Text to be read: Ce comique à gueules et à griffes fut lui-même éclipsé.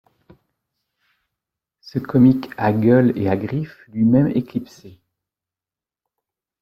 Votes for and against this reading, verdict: 0, 2, rejected